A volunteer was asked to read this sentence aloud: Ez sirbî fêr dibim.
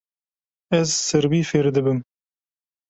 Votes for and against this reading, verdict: 2, 0, accepted